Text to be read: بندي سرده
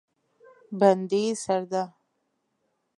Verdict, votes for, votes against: rejected, 1, 2